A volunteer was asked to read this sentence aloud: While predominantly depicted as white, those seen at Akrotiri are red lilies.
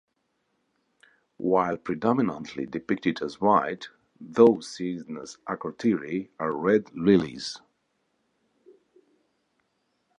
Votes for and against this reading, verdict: 2, 0, accepted